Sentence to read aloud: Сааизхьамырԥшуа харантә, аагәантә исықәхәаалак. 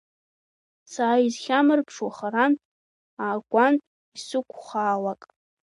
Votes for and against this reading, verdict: 1, 2, rejected